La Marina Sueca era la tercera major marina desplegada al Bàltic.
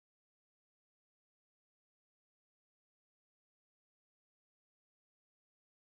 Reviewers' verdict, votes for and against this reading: rejected, 0, 2